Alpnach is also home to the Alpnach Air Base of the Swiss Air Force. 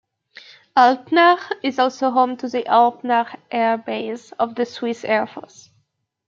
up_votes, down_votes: 2, 0